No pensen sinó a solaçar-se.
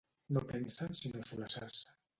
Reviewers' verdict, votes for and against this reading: rejected, 0, 2